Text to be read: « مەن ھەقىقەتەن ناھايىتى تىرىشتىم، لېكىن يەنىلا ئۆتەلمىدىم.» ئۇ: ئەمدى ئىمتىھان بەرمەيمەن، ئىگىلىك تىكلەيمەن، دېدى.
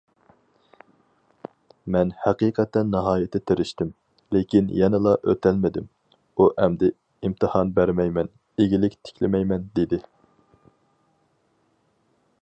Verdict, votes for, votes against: rejected, 2, 2